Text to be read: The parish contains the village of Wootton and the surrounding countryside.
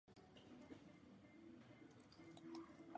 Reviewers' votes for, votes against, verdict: 0, 2, rejected